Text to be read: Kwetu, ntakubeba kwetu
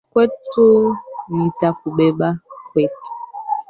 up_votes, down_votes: 1, 2